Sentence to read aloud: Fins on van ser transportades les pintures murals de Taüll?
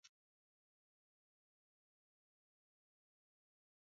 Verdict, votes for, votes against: rejected, 0, 2